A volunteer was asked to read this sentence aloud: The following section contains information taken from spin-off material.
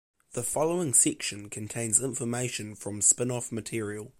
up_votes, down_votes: 1, 2